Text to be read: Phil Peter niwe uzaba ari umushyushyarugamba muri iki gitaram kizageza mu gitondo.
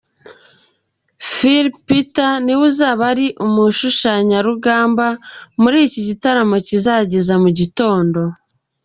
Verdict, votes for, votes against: rejected, 0, 2